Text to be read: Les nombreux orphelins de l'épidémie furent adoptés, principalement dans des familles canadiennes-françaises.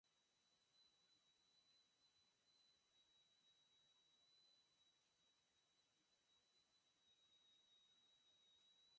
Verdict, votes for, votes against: rejected, 0, 2